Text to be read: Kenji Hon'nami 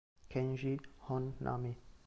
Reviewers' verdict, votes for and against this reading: accepted, 2, 0